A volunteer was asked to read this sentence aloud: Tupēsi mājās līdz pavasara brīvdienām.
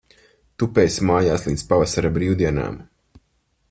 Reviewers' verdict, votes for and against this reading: accepted, 4, 0